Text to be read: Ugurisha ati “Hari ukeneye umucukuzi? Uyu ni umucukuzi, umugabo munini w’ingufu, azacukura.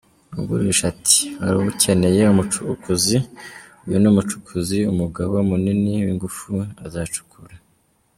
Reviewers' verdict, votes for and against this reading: accepted, 2, 1